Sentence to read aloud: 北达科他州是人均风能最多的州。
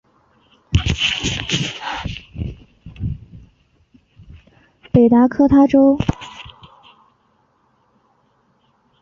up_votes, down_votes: 0, 5